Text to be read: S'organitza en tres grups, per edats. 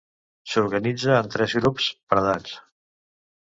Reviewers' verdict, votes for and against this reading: accepted, 4, 0